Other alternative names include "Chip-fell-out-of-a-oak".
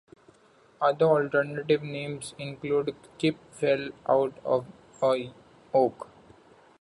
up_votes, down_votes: 1, 2